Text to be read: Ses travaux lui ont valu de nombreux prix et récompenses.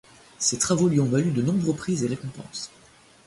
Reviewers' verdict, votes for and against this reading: accepted, 2, 0